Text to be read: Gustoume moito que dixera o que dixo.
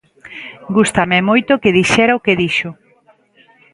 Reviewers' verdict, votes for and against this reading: rejected, 0, 2